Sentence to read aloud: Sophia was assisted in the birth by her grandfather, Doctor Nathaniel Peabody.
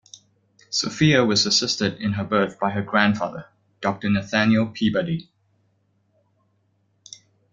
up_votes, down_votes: 1, 2